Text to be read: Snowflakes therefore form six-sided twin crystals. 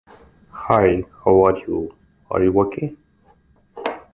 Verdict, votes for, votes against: rejected, 0, 2